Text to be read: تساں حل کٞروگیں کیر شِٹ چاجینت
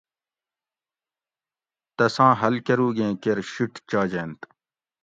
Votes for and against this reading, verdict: 2, 0, accepted